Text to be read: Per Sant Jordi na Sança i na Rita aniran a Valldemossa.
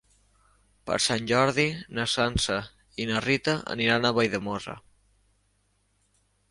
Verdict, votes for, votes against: rejected, 1, 2